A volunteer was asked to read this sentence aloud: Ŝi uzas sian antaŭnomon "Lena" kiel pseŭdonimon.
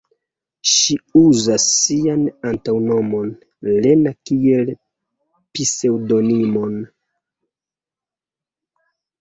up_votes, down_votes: 0, 3